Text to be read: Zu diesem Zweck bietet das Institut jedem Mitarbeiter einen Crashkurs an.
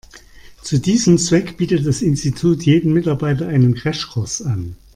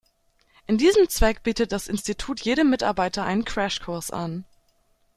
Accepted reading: first